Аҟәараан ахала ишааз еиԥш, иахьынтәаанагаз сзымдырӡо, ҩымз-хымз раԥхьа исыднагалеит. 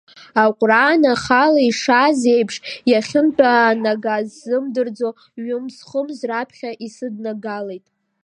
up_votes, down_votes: 0, 2